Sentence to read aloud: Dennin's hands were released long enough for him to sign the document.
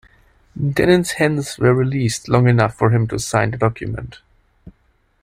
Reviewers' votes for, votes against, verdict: 2, 0, accepted